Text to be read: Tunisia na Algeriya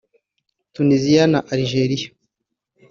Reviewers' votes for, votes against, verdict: 3, 0, accepted